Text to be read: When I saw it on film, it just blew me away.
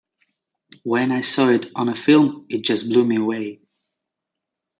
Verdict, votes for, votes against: rejected, 0, 2